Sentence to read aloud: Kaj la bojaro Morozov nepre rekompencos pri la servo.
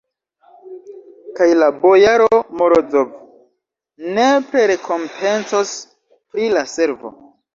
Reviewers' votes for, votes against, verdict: 1, 2, rejected